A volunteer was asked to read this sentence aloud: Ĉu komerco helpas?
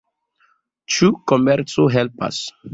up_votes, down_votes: 2, 0